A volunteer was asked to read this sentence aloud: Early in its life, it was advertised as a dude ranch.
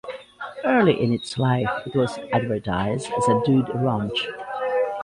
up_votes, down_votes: 2, 0